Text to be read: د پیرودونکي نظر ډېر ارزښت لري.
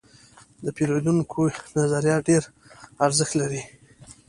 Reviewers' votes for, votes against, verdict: 1, 2, rejected